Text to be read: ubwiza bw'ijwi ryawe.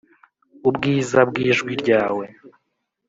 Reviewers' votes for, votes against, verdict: 2, 0, accepted